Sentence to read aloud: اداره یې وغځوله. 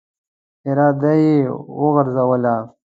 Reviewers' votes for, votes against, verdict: 0, 3, rejected